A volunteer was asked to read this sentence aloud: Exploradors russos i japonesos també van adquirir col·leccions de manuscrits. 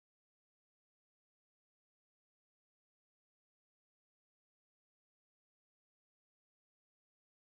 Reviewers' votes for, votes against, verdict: 0, 2, rejected